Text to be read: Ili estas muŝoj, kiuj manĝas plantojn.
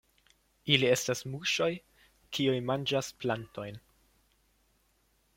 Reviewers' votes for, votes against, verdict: 2, 0, accepted